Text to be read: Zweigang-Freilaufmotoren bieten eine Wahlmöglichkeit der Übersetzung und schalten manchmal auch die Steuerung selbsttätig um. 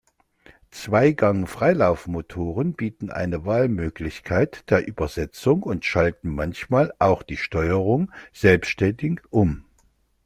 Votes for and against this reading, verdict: 0, 2, rejected